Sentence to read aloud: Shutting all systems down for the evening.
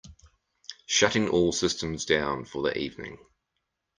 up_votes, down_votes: 2, 0